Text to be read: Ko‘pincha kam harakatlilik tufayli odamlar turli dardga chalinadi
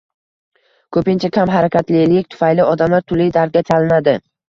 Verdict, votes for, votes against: accepted, 2, 0